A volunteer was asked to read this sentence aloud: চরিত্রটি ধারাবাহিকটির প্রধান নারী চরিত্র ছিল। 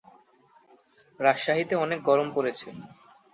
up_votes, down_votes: 1, 2